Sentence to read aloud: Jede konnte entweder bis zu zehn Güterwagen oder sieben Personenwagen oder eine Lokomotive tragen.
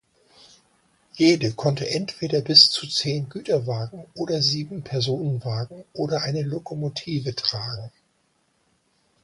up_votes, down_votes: 2, 0